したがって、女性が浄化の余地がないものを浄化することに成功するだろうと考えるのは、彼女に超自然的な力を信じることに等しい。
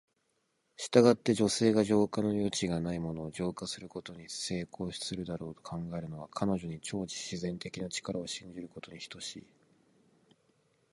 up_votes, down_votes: 2, 1